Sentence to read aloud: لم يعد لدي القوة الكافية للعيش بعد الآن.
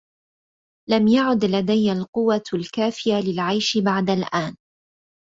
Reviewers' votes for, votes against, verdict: 2, 0, accepted